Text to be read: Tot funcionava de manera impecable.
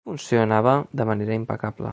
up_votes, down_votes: 1, 2